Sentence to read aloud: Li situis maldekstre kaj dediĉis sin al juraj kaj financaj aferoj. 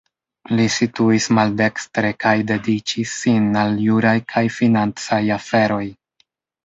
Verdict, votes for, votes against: accepted, 2, 1